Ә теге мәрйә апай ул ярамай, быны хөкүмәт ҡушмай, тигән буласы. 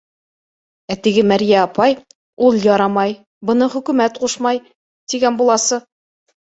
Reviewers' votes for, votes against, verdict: 2, 0, accepted